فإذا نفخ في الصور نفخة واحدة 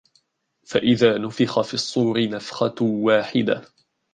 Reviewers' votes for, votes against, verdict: 1, 2, rejected